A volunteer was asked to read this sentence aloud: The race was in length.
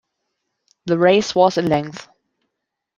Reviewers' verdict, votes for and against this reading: accepted, 2, 0